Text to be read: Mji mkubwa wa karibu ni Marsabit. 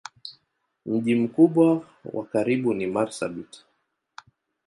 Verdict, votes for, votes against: accepted, 3, 0